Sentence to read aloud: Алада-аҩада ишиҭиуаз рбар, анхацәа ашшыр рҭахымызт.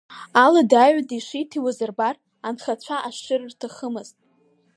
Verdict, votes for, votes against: accepted, 4, 0